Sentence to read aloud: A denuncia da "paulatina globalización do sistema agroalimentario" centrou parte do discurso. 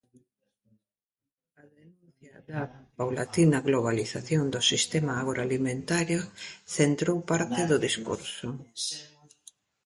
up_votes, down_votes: 0, 2